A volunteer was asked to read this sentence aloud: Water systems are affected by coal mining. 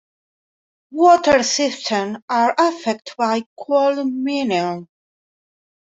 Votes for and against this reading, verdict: 1, 2, rejected